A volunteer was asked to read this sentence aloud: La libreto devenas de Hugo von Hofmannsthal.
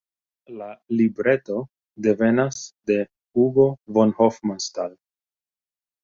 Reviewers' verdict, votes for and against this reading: accepted, 2, 1